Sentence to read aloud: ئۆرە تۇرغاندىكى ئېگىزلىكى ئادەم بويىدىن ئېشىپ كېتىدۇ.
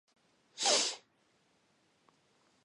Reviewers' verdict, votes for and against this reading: rejected, 0, 2